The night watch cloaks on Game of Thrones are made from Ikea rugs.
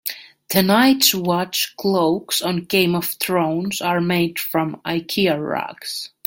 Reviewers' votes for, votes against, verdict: 2, 1, accepted